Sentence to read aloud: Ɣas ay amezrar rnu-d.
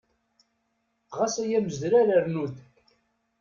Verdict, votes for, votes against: accepted, 2, 0